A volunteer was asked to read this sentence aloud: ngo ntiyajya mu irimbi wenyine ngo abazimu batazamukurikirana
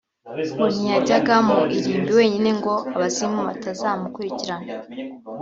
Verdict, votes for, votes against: rejected, 0, 2